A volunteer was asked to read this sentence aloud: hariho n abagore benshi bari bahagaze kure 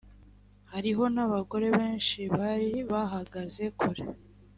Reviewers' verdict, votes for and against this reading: accepted, 3, 0